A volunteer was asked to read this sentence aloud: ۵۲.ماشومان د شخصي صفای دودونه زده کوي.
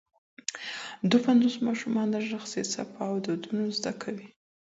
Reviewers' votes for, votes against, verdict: 0, 2, rejected